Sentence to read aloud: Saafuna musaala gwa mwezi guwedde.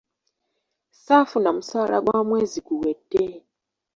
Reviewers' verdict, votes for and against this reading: accepted, 2, 0